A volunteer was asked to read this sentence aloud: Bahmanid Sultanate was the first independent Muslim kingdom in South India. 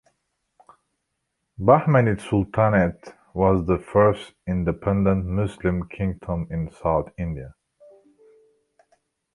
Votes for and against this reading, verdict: 2, 1, accepted